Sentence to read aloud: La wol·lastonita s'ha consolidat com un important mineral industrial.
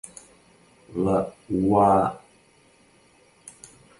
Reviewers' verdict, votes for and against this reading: rejected, 0, 2